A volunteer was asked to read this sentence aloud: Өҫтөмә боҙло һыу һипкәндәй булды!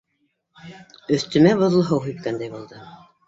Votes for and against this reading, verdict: 2, 0, accepted